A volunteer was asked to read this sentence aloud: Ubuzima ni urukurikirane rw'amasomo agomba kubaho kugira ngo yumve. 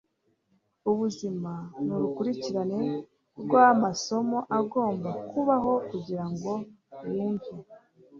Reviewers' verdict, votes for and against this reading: accepted, 2, 0